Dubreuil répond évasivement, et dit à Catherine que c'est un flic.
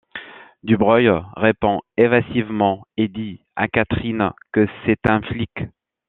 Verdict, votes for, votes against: accepted, 2, 0